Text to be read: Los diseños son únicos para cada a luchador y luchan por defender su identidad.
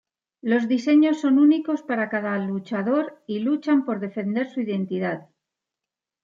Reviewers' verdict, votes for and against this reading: accepted, 2, 0